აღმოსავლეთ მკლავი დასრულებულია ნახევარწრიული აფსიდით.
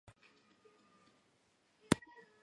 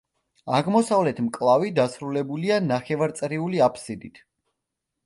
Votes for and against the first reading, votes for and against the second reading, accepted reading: 0, 2, 2, 0, second